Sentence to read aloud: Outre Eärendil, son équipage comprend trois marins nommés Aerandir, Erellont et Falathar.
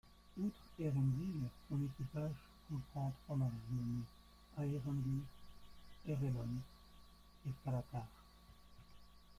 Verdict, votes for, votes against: rejected, 0, 2